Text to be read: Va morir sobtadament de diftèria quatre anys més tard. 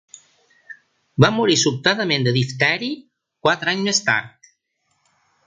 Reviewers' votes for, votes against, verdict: 2, 3, rejected